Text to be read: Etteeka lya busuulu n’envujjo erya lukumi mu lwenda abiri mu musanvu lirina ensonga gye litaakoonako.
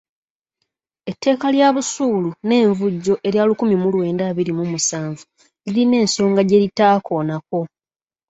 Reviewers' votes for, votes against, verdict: 3, 0, accepted